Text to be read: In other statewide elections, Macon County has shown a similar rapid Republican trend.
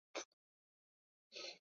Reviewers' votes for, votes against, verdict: 0, 2, rejected